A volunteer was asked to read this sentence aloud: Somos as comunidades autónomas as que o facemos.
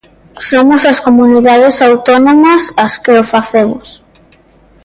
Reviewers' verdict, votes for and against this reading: accepted, 2, 0